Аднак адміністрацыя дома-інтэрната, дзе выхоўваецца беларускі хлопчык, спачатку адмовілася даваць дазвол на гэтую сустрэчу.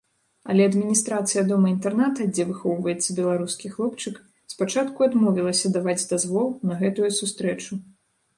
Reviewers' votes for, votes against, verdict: 1, 2, rejected